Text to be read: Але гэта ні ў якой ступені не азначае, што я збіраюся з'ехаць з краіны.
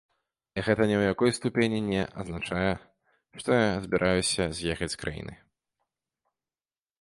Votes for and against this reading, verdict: 0, 2, rejected